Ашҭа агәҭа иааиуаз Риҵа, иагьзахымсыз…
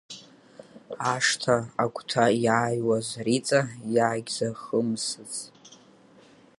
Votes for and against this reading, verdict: 3, 5, rejected